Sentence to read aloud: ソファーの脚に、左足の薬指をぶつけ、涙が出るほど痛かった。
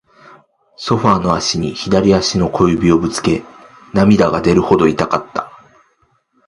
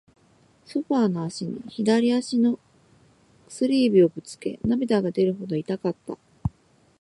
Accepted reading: second